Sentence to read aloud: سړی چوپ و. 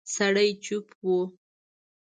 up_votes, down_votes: 1, 2